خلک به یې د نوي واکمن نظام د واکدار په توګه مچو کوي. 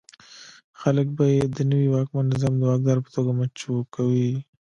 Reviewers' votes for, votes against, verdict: 1, 2, rejected